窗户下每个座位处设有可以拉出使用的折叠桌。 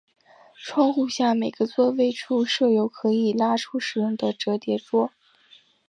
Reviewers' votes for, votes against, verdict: 2, 0, accepted